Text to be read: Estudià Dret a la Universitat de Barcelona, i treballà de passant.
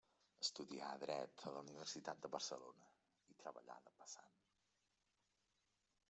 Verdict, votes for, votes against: accepted, 3, 0